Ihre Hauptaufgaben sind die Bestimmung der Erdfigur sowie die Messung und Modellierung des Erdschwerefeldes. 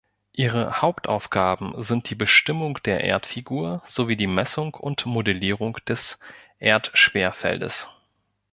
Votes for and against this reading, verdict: 1, 2, rejected